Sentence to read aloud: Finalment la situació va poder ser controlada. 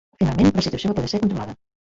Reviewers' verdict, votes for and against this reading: rejected, 1, 2